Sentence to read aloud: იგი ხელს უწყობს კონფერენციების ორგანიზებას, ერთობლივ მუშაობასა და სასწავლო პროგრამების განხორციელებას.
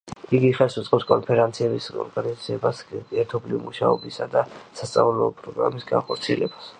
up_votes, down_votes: 1, 2